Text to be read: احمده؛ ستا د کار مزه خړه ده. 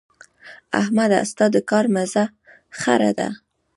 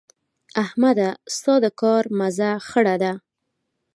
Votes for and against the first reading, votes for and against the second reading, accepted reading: 1, 2, 3, 0, second